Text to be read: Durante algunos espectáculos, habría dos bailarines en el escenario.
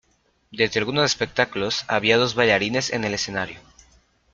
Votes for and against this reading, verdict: 0, 2, rejected